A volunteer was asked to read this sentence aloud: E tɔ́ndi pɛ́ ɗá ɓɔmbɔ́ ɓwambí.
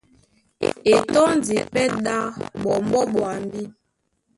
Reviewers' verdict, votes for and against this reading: rejected, 1, 2